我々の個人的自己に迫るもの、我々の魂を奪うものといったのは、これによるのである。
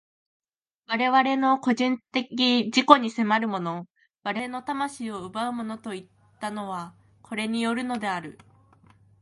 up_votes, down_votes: 2, 1